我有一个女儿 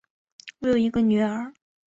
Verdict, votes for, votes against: accepted, 4, 1